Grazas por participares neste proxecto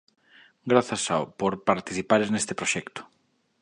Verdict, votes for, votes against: rejected, 0, 2